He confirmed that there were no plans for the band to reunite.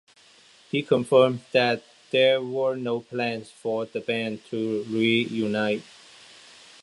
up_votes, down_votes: 2, 1